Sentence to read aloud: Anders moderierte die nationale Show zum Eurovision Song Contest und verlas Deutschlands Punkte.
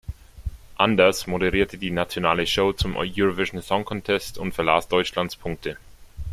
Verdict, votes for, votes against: rejected, 1, 2